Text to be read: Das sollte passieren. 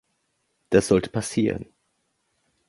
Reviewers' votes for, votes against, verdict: 2, 0, accepted